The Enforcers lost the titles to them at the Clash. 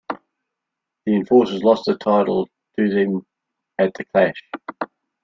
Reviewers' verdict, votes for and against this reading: rejected, 0, 2